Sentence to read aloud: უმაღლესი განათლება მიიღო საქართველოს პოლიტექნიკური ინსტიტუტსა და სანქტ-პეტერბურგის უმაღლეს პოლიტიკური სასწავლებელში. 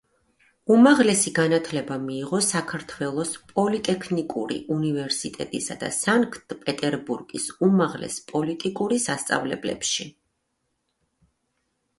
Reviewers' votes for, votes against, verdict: 0, 2, rejected